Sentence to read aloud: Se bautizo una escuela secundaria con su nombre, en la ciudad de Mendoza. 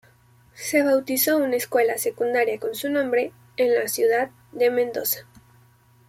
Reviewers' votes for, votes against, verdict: 2, 0, accepted